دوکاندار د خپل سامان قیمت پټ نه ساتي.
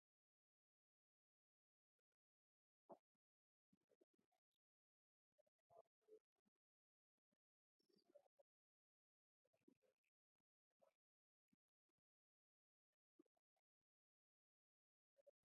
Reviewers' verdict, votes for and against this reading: rejected, 0, 3